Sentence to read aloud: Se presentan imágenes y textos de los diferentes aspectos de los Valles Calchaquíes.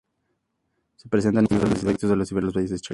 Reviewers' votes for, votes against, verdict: 0, 4, rejected